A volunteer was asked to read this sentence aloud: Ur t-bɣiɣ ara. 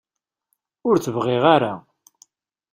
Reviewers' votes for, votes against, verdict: 2, 0, accepted